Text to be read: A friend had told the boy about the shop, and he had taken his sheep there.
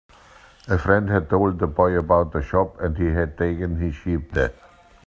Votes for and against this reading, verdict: 2, 0, accepted